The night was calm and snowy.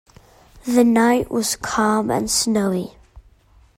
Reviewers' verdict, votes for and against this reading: accepted, 2, 0